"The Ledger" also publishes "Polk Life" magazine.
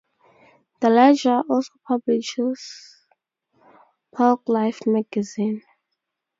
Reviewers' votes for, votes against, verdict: 2, 0, accepted